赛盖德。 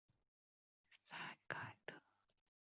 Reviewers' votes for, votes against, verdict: 1, 2, rejected